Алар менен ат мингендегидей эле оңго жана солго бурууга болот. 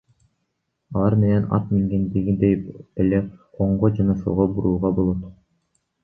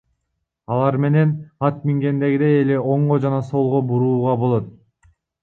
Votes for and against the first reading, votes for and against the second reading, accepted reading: 0, 2, 2, 1, second